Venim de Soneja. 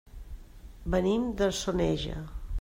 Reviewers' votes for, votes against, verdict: 3, 0, accepted